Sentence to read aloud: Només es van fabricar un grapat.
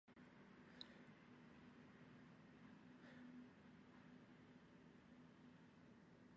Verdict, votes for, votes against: rejected, 0, 3